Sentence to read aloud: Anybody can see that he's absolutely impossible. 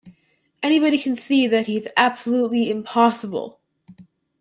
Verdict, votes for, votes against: accepted, 2, 0